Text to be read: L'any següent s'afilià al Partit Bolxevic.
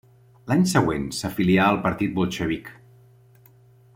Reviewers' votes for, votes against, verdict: 2, 0, accepted